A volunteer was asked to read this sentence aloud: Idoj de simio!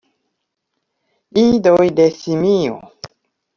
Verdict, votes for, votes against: accepted, 2, 0